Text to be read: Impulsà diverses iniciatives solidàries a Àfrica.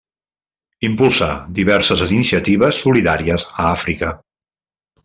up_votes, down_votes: 1, 2